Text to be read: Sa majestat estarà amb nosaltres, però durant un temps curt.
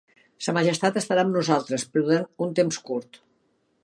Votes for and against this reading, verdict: 3, 1, accepted